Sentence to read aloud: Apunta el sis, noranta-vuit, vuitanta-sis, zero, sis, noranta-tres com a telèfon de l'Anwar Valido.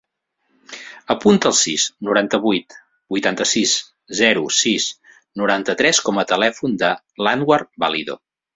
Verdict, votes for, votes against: accepted, 4, 0